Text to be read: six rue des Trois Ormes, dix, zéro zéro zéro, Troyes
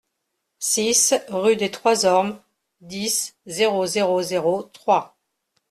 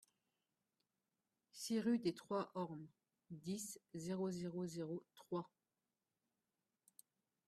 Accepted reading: first